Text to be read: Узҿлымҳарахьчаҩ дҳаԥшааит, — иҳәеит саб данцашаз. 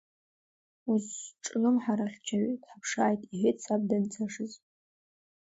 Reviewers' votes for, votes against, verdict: 1, 2, rejected